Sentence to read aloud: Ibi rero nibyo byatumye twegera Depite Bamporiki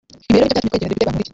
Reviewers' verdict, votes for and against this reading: rejected, 1, 2